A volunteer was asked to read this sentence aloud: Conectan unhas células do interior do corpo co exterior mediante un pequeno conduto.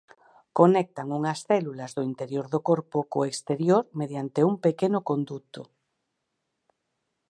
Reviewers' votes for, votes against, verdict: 4, 0, accepted